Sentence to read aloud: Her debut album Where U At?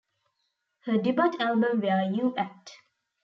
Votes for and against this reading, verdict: 0, 2, rejected